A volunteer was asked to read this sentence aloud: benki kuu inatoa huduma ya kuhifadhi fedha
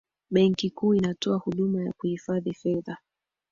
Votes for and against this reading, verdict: 4, 1, accepted